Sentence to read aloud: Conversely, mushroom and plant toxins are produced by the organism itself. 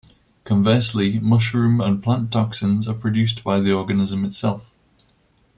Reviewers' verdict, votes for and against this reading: accepted, 2, 0